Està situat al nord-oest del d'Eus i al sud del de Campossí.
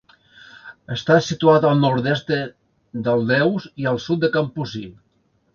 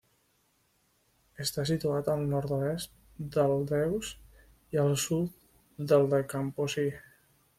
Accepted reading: second